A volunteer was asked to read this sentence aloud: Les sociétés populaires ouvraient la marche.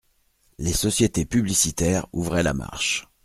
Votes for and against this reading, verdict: 1, 2, rejected